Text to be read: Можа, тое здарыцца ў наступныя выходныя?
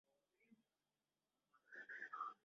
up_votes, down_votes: 0, 2